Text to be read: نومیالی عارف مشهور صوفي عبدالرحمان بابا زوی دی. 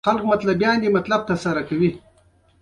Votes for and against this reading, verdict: 2, 0, accepted